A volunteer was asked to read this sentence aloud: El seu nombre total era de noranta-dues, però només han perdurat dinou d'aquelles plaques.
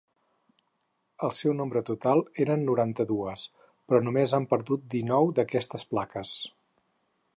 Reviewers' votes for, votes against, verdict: 0, 4, rejected